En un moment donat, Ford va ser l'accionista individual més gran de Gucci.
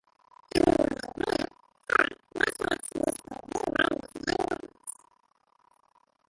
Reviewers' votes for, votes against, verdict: 0, 2, rejected